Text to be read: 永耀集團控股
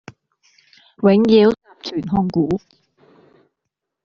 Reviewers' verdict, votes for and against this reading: rejected, 1, 2